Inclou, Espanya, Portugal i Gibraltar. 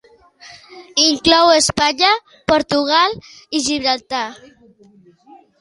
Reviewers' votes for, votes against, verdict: 3, 0, accepted